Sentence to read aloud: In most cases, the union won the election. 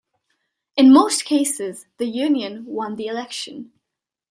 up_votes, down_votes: 2, 0